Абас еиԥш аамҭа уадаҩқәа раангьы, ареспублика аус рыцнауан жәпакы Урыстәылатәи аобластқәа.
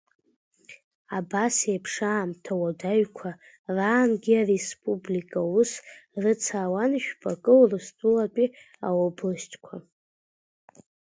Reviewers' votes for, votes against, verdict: 2, 1, accepted